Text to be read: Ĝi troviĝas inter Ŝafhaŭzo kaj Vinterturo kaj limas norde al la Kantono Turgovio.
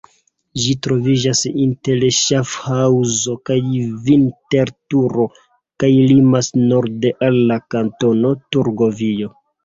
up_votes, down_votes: 1, 2